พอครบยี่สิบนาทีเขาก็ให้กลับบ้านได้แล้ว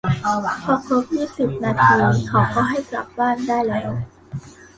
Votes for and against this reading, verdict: 0, 2, rejected